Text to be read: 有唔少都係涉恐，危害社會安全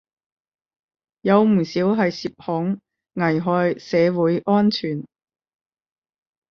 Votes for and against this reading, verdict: 5, 10, rejected